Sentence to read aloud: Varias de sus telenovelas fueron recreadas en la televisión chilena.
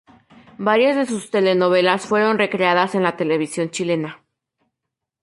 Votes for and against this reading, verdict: 2, 0, accepted